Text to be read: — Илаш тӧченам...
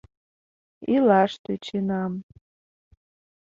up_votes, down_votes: 2, 0